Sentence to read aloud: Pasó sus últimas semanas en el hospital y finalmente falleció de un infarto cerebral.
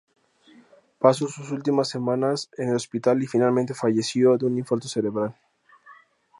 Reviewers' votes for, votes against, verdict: 2, 0, accepted